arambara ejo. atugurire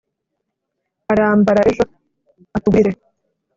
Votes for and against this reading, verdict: 1, 2, rejected